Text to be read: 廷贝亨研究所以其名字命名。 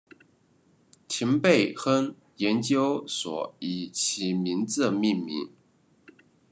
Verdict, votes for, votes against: accepted, 2, 0